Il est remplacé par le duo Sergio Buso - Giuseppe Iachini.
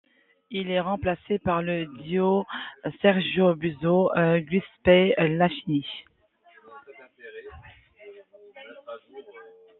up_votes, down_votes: 2, 0